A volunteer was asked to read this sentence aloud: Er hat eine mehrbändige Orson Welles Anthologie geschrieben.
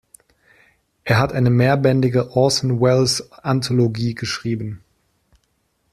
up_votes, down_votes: 2, 0